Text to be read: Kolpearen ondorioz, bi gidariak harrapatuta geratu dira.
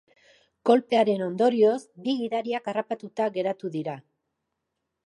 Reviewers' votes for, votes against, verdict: 2, 0, accepted